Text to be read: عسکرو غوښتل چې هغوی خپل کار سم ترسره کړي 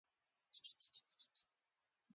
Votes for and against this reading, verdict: 1, 2, rejected